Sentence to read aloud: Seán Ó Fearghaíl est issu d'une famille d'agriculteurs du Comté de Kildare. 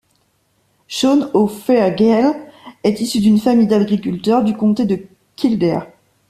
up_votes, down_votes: 1, 2